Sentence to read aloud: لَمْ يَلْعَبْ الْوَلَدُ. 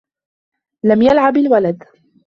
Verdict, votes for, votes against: accepted, 2, 1